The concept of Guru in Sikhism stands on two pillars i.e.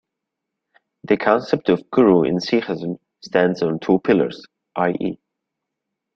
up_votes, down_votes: 0, 2